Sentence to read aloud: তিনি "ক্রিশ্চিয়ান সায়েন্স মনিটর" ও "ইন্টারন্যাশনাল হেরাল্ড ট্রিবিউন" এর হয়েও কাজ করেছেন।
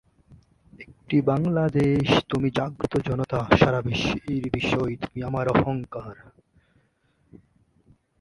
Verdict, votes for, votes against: rejected, 0, 3